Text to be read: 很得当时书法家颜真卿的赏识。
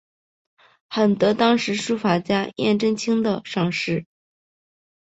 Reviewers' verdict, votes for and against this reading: accepted, 3, 0